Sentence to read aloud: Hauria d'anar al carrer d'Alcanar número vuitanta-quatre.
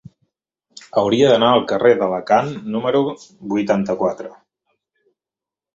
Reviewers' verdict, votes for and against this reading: rejected, 0, 2